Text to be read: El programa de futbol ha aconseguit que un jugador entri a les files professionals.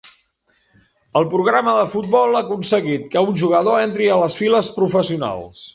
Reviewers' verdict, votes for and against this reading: accepted, 3, 0